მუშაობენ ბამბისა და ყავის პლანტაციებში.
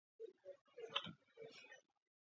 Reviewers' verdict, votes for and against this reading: rejected, 0, 2